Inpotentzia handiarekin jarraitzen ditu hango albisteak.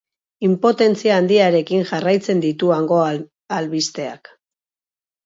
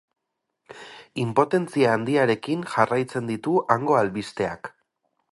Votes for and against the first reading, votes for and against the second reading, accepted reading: 2, 2, 8, 0, second